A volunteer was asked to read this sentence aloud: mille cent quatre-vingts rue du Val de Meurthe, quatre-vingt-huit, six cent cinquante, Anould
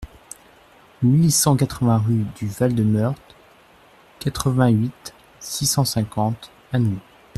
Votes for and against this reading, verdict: 2, 0, accepted